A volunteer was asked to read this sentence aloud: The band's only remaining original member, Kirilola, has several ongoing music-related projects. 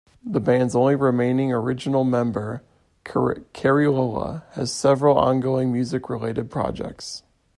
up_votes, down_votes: 1, 2